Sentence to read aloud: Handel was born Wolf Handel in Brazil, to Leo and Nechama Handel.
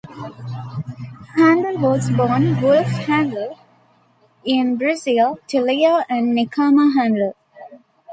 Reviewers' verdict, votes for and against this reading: accepted, 2, 1